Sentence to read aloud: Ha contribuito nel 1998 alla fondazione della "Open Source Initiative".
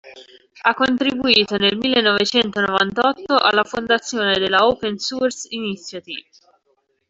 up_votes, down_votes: 0, 2